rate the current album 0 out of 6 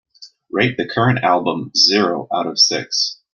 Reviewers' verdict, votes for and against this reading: rejected, 0, 2